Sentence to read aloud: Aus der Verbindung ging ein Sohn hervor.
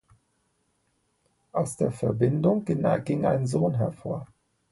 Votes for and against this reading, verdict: 0, 2, rejected